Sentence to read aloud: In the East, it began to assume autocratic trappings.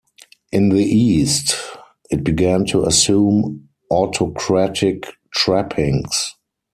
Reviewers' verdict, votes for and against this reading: accepted, 4, 0